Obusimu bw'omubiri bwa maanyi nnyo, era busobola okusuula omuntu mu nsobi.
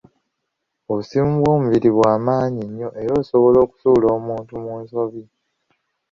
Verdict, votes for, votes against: rejected, 2, 3